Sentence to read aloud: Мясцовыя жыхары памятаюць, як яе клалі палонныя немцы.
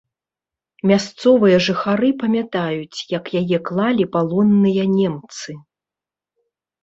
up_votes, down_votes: 1, 2